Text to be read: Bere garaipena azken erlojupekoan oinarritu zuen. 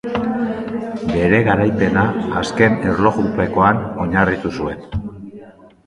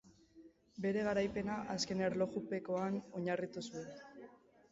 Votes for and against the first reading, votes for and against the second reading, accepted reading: 2, 0, 0, 3, first